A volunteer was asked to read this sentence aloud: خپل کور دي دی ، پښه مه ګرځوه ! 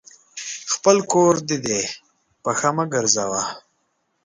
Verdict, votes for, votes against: accepted, 2, 1